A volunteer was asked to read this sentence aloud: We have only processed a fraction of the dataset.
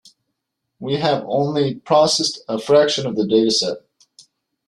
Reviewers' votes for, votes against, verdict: 2, 0, accepted